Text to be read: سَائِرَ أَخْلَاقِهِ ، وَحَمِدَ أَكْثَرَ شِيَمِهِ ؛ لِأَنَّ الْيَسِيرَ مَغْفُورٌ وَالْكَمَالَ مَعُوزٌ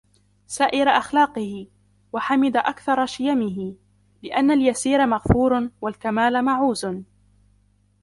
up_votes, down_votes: 1, 2